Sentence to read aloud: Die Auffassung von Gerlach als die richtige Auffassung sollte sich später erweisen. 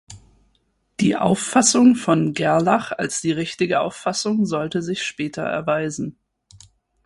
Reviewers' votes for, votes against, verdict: 6, 0, accepted